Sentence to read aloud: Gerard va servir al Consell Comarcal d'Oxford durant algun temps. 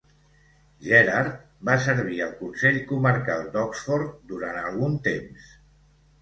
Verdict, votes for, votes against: accepted, 2, 0